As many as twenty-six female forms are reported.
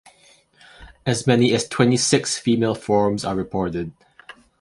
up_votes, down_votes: 2, 0